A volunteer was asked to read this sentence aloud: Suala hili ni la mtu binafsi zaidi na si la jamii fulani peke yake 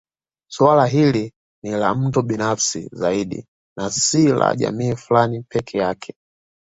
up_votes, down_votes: 2, 0